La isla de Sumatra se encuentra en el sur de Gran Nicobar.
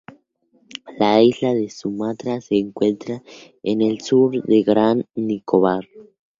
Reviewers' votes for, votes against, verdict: 2, 0, accepted